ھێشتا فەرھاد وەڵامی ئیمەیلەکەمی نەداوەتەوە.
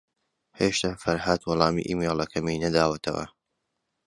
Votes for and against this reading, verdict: 2, 0, accepted